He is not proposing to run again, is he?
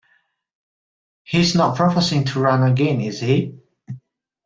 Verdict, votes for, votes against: rejected, 1, 2